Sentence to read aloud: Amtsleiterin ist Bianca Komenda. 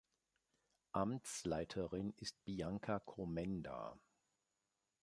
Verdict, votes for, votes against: accepted, 2, 0